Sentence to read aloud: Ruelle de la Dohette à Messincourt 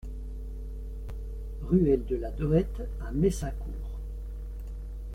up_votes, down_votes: 2, 0